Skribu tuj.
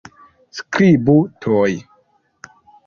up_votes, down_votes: 1, 2